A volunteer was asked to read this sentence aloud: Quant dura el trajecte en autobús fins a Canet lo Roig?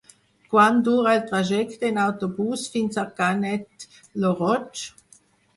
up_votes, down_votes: 2, 4